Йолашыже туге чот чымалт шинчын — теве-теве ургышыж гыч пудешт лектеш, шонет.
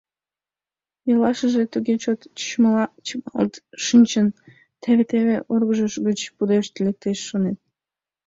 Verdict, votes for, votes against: rejected, 1, 2